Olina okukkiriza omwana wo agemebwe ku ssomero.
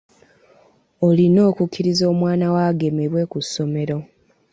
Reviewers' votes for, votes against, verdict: 2, 0, accepted